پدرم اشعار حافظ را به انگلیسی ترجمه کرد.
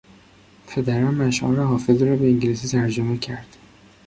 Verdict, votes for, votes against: accepted, 2, 0